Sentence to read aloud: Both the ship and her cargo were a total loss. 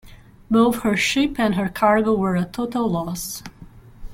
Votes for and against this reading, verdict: 0, 2, rejected